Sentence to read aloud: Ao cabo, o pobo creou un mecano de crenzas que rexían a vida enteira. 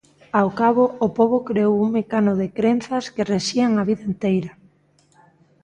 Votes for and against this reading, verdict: 2, 0, accepted